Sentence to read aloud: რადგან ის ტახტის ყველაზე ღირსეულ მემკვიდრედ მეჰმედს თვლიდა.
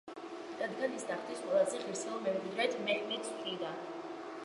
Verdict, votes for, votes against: accepted, 2, 0